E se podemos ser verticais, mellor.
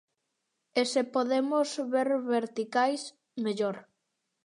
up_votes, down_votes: 0, 2